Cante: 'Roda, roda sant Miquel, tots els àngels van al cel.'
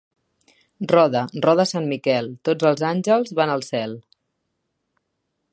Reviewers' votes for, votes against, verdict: 1, 2, rejected